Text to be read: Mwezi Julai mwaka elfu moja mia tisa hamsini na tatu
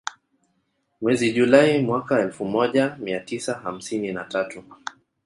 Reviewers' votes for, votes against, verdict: 2, 0, accepted